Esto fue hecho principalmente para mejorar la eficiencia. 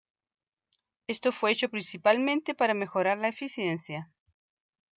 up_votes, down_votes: 2, 1